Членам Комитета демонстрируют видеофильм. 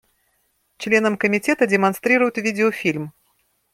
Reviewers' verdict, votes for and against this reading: accepted, 2, 0